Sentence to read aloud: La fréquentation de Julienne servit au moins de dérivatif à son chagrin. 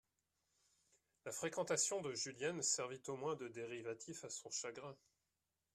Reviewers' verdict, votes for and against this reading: accepted, 2, 0